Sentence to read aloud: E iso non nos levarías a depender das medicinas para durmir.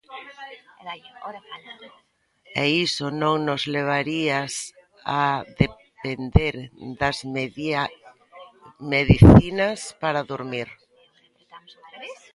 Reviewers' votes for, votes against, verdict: 0, 2, rejected